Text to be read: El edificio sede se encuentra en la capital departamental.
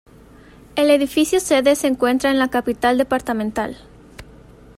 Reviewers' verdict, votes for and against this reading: accepted, 2, 0